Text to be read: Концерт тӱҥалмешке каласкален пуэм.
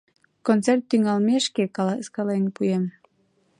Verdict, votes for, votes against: accepted, 2, 0